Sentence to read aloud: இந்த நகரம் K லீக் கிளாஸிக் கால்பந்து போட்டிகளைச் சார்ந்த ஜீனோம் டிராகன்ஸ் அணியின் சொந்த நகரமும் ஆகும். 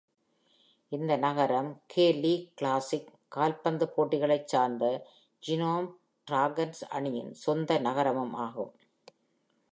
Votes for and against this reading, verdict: 2, 1, accepted